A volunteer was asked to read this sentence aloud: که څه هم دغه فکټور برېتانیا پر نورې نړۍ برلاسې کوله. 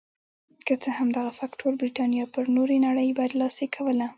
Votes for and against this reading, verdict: 0, 2, rejected